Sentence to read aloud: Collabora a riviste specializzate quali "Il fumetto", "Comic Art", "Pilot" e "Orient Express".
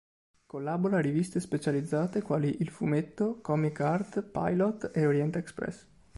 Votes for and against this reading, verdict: 2, 0, accepted